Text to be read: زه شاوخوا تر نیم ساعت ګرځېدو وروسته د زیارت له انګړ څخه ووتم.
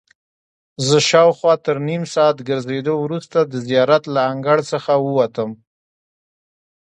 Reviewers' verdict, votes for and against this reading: rejected, 0, 2